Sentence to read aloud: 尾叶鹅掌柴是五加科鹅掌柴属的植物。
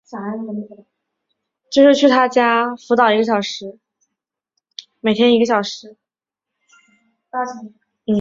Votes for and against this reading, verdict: 0, 5, rejected